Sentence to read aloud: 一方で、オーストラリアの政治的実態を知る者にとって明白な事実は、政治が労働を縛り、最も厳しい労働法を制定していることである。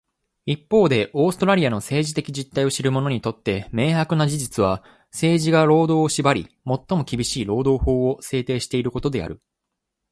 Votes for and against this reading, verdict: 2, 0, accepted